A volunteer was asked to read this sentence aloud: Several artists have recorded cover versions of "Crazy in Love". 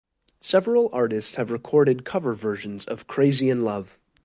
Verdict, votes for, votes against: accepted, 2, 0